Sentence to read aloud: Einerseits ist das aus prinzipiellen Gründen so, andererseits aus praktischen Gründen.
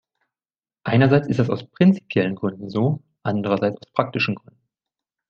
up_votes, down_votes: 0, 2